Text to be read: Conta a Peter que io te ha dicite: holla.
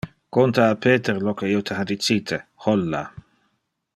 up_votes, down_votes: 0, 2